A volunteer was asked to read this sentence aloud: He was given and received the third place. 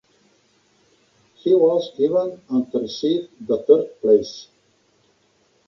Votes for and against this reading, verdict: 2, 1, accepted